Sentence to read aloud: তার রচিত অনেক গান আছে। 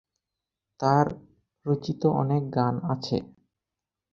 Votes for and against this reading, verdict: 4, 0, accepted